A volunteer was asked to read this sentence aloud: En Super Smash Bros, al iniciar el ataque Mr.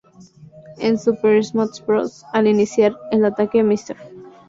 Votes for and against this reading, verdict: 0, 2, rejected